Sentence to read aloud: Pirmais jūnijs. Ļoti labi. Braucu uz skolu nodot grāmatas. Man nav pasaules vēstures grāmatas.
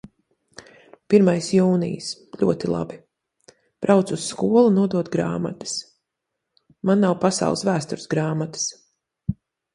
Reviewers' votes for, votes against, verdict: 2, 1, accepted